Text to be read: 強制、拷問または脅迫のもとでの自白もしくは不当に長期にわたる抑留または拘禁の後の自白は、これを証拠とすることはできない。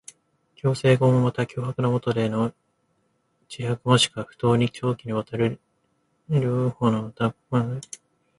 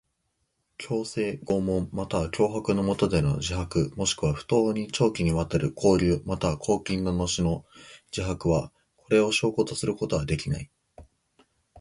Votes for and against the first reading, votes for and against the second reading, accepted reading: 0, 2, 2, 0, second